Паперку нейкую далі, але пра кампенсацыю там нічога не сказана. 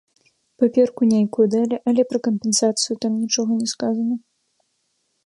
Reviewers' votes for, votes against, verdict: 1, 2, rejected